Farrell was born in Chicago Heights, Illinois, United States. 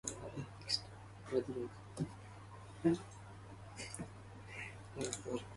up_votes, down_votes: 0, 2